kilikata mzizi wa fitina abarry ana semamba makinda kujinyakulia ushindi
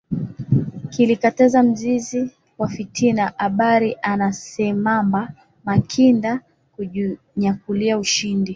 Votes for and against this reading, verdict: 1, 4, rejected